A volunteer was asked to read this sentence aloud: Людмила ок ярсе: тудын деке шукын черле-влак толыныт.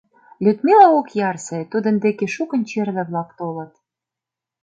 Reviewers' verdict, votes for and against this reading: rejected, 1, 2